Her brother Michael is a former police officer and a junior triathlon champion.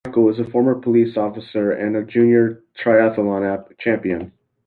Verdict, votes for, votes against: rejected, 1, 2